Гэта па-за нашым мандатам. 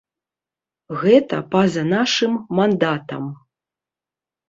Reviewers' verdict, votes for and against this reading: accepted, 2, 0